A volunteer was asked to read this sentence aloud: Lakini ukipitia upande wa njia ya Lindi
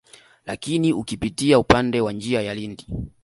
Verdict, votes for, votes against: accepted, 2, 0